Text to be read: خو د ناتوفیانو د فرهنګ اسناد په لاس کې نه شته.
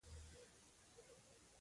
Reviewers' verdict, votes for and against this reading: rejected, 1, 2